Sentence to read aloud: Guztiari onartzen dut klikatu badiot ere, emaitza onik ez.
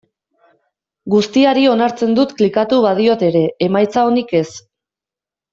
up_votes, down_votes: 2, 0